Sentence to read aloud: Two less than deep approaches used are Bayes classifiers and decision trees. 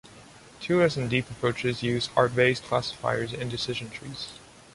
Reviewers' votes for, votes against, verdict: 2, 0, accepted